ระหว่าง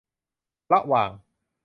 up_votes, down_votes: 2, 0